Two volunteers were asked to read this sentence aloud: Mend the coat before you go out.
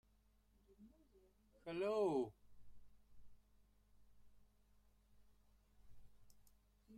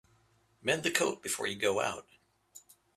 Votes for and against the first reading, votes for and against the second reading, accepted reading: 0, 2, 2, 0, second